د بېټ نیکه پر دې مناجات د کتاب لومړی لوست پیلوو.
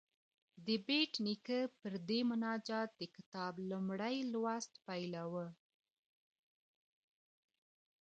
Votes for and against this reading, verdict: 0, 2, rejected